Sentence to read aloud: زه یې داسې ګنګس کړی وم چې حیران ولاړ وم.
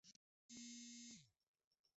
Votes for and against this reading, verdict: 0, 2, rejected